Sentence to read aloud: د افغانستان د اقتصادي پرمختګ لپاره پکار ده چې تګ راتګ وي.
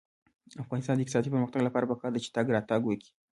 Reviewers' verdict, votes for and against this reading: accepted, 2, 0